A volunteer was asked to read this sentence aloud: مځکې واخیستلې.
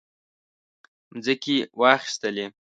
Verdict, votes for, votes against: accepted, 2, 0